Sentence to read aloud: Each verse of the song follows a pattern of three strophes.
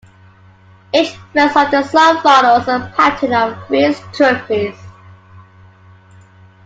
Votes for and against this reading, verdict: 1, 2, rejected